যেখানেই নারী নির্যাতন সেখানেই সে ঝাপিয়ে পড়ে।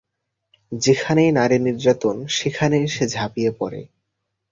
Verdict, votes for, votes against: accepted, 2, 0